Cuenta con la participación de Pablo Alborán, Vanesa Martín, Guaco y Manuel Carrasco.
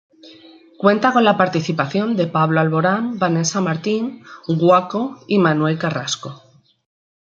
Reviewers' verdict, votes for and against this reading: accepted, 2, 0